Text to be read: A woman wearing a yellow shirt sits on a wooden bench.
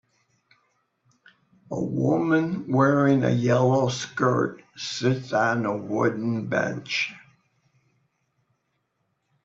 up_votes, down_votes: 2, 1